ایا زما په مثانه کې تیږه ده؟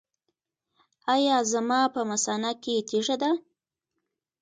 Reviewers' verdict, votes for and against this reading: rejected, 1, 2